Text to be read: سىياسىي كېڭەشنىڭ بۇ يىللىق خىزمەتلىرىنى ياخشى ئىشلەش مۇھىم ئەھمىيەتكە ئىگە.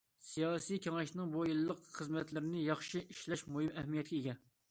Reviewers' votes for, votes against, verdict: 2, 0, accepted